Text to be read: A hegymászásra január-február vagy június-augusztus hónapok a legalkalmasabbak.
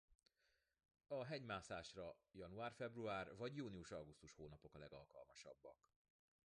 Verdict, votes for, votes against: rejected, 0, 2